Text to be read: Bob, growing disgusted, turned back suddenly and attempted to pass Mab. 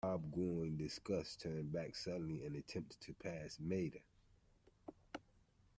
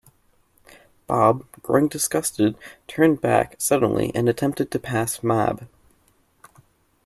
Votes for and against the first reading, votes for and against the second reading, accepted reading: 0, 2, 2, 0, second